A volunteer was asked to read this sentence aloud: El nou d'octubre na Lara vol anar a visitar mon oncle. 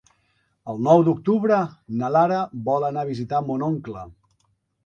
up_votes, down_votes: 3, 0